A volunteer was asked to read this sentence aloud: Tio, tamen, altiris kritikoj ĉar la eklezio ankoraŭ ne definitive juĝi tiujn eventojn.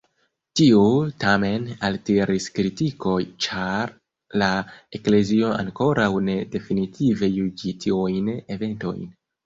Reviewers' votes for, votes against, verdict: 2, 0, accepted